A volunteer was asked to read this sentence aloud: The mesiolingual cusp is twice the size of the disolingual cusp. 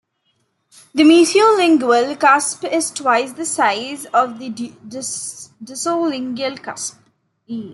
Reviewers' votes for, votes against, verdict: 1, 2, rejected